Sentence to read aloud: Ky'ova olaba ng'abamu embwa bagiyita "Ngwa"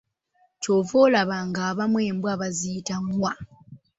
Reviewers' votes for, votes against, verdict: 1, 2, rejected